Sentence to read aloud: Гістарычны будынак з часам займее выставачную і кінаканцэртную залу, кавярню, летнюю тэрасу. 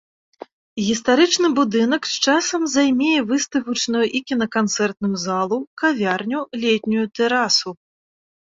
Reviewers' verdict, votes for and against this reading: accepted, 2, 0